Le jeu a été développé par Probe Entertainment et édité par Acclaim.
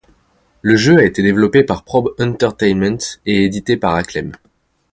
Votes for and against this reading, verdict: 2, 0, accepted